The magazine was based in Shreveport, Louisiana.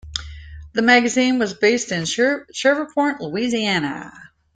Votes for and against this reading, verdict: 0, 2, rejected